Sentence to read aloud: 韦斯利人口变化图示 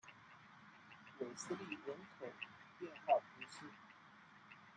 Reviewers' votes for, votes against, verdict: 0, 2, rejected